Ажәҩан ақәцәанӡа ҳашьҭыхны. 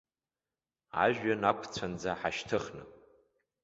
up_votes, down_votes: 2, 0